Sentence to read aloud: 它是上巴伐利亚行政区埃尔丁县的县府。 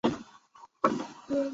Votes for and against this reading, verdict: 0, 4, rejected